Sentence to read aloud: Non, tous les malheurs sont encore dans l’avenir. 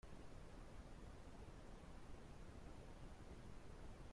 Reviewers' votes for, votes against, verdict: 0, 2, rejected